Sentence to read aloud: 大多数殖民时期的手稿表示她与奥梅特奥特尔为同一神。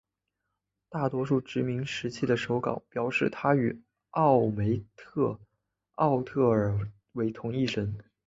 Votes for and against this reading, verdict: 2, 1, accepted